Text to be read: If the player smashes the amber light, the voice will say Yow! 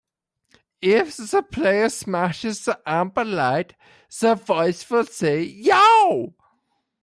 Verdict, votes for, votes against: rejected, 0, 2